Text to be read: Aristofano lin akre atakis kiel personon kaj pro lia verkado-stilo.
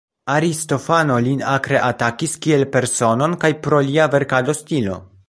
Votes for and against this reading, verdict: 2, 0, accepted